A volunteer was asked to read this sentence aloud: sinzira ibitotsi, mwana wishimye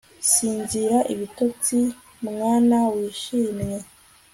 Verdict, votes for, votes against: accepted, 2, 0